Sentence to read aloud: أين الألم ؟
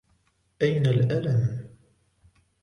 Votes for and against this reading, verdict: 2, 0, accepted